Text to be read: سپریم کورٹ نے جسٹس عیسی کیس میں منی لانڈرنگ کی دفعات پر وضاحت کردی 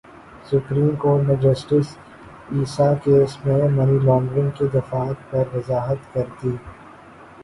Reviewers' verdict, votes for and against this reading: rejected, 4, 4